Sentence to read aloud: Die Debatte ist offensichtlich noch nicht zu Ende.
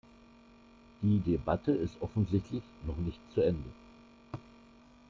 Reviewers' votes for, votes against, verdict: 1, 2, rejected